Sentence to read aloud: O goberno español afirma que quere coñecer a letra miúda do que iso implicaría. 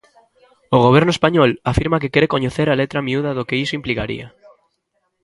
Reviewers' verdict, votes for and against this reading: rejected, 1, 2